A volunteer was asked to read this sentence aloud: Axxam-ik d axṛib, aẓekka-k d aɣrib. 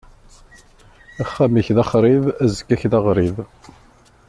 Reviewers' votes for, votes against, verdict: 2, 0, accepted